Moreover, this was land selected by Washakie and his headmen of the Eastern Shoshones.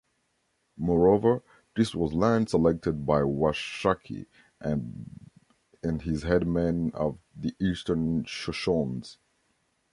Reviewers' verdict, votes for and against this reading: rejected, 0, 2